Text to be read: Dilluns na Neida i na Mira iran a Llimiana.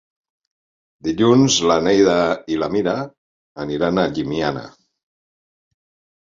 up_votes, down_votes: 3, 4